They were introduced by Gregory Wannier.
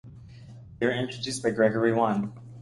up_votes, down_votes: 0, 2